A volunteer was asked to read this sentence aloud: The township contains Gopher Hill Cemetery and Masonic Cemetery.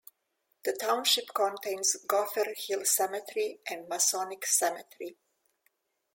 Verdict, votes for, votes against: accepted, 2, 0